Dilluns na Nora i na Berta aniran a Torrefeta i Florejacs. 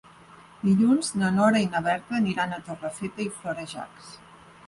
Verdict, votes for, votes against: accepted, 6, 0